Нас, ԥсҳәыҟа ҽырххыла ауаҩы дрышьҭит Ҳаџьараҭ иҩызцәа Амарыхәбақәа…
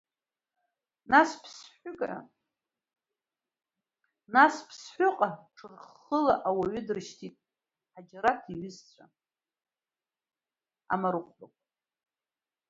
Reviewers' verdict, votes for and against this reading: rejected, 0, 2